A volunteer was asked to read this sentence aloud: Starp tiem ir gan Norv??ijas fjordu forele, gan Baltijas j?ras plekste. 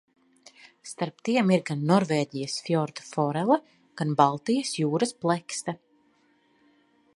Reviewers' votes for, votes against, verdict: 1, 2, rejected